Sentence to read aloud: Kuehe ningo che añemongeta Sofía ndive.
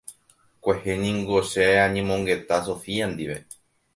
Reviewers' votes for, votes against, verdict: 1, 2, rejected